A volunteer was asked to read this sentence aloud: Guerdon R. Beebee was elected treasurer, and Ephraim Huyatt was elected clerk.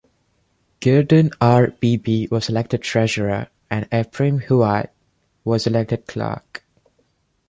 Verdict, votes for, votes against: accepted, 2, 0